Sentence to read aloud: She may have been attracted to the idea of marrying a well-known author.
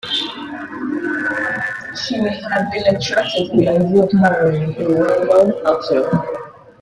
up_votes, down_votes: 0, 2